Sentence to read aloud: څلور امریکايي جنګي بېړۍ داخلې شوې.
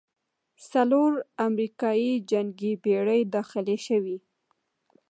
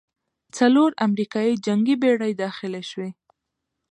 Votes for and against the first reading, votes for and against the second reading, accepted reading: 1, 2, 2, 1, second